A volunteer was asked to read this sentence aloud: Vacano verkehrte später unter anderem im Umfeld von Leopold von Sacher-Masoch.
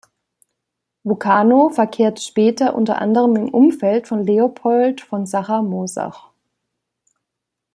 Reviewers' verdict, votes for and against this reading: rejected, 1, 2